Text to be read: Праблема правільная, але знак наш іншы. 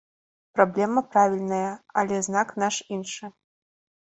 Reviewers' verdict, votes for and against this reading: accepted, 2, 0